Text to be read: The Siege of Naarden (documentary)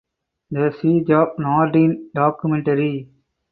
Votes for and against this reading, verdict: 2, 0, accepted